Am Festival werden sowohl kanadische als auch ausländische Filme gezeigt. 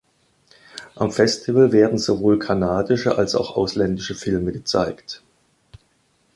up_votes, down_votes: 2, 0